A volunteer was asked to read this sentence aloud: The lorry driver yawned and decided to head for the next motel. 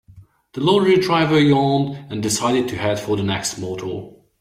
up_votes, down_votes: 2, 1